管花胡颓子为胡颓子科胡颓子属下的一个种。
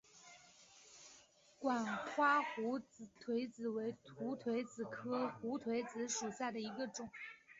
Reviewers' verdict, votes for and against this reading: rejected, 0, 2